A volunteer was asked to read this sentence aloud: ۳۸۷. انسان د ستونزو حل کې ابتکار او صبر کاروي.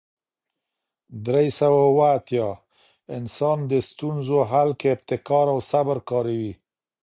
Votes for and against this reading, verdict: 0, 2, rejected